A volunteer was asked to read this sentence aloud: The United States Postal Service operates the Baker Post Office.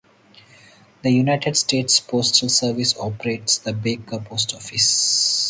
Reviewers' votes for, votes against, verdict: 4, 2, accepted